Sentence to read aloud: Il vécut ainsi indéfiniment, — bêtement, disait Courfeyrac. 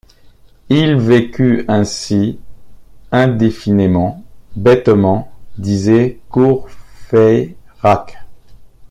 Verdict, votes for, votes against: rejected, 0, 2